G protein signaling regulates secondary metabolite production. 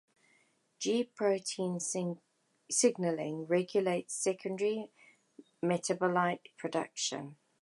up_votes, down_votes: 1, 2